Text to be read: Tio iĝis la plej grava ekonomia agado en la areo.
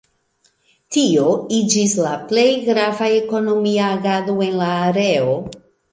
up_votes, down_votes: 2, 0